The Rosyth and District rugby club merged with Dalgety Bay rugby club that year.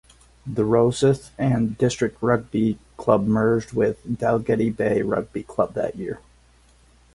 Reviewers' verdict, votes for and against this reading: accepted, 4, 0